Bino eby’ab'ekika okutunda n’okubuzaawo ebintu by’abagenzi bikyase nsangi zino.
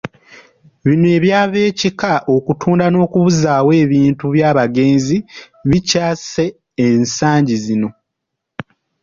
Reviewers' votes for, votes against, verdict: 1, 2, rejected